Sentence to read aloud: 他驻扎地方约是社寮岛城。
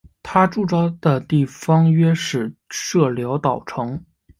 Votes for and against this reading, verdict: 1, 2, rejected